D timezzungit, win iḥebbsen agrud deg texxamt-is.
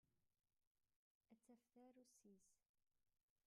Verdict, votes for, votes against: rejected, 0, 2